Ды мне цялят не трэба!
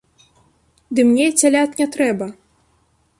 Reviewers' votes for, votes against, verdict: 2, 0, accepted